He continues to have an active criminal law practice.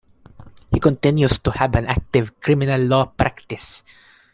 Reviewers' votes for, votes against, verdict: 2, 1, accepted